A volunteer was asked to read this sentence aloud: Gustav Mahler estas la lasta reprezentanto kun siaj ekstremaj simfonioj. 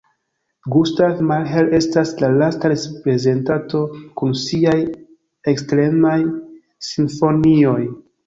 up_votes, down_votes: 1, 2